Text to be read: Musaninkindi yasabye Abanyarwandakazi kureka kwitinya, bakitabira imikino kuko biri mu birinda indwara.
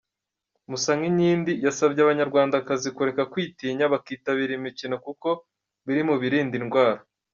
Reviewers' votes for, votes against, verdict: 2, 1, accepted